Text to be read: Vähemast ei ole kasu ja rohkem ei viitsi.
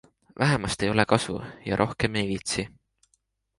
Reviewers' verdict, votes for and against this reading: accepted, 2, 0